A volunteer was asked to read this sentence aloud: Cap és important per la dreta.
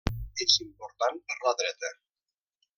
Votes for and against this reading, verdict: 0, 2, rejected